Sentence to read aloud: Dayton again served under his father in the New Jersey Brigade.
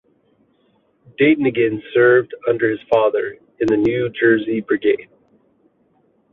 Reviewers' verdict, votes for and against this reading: accepted, 2, 0